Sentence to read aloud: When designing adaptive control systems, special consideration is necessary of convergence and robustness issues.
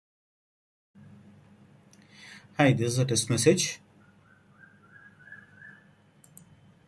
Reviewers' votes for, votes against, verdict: 0, 2, rejected